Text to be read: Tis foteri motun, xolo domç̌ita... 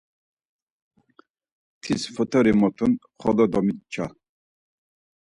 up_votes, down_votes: 0, 4